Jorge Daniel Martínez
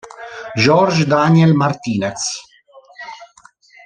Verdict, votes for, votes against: rejected, 1, 2